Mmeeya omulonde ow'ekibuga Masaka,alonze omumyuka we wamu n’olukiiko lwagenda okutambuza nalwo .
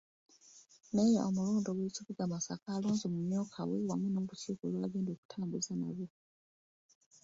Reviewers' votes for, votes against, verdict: 1, 2, rejected